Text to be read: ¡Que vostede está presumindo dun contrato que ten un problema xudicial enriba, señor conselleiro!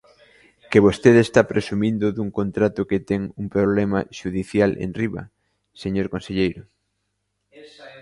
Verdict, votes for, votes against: rejected, 0, 2